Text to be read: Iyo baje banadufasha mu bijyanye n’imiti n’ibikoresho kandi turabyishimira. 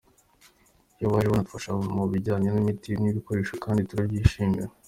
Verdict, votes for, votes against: accepted, 2, 0